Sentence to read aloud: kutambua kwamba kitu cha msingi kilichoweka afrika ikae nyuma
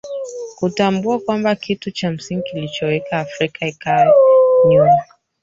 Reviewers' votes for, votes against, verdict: 0, 2, rejected